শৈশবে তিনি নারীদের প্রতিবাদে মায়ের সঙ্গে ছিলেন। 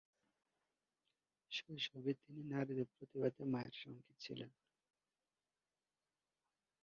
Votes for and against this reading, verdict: 0, 5, rejected